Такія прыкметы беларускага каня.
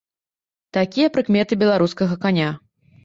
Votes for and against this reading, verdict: 2, 0, accepted